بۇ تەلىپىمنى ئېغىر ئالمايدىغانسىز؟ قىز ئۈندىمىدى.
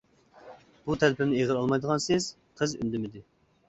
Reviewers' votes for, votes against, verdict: 2, 0, accepted